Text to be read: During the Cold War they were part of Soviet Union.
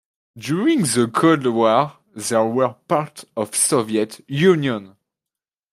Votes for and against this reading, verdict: 2, 0, accepted